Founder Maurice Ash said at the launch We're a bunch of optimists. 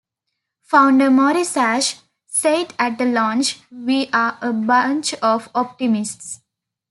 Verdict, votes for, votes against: rejected, 1, 2